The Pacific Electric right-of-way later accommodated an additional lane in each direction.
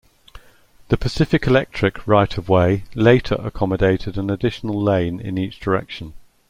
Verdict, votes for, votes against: accepted, 2, 0